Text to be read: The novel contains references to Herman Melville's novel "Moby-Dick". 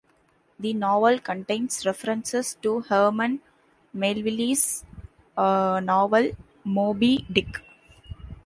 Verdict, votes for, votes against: accepted, 2, 0